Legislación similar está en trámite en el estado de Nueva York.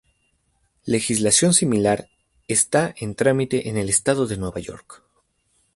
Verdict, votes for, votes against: accepted, 2, 0